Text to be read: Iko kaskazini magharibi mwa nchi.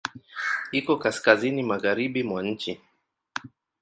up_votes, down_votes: 2, 1